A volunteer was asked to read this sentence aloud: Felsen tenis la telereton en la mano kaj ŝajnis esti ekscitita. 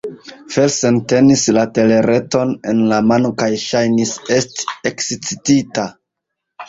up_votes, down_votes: 0, 2